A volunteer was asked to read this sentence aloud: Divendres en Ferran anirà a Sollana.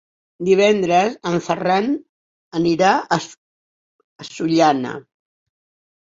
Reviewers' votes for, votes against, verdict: 2, 4, rejected